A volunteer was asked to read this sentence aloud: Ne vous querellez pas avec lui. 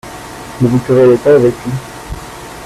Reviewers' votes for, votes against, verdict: 2, 0, accepted